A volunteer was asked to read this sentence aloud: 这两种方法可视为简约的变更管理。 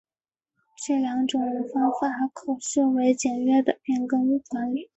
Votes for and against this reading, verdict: 2, 1, accepted